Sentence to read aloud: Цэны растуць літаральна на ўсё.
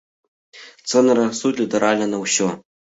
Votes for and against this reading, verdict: 1, 2, rejected